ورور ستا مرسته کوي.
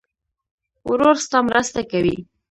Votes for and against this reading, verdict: 1, 2, rejected